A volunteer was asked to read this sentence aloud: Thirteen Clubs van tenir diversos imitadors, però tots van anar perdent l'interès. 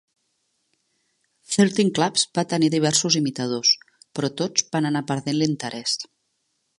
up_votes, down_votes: 3, 1